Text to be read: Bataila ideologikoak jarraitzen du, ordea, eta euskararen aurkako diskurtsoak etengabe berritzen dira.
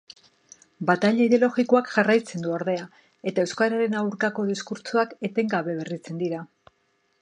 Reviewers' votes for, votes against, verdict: 2, 0, accepted